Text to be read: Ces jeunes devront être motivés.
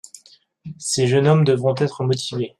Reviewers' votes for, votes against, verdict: 0, 2, rejected